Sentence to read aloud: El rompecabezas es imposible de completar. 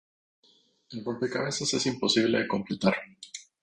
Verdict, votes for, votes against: accepted, 2, 0